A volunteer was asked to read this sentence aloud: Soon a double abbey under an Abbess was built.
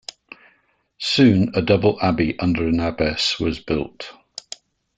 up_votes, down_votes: 2, 0